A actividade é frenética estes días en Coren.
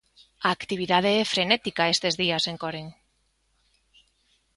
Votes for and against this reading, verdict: 2, 0, accepted